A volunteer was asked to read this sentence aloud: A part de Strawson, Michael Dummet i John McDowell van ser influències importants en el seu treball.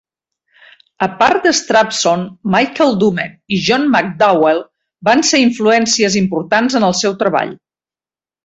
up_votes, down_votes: 2, 0